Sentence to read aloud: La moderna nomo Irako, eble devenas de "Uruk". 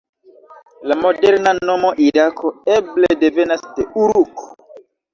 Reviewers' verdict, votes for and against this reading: rejected, 1, 2